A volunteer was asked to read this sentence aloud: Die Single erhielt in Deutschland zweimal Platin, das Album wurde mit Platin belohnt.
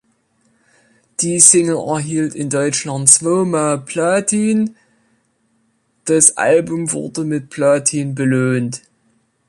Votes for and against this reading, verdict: 1, 2, rejected